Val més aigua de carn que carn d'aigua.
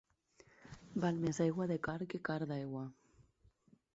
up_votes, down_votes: 4, 0